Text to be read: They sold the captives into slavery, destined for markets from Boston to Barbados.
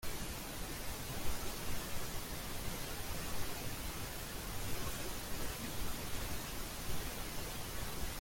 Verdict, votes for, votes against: rejected, 0, 2